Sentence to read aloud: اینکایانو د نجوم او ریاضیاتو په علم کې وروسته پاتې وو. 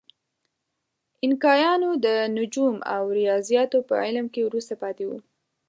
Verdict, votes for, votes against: accepted, 2, 0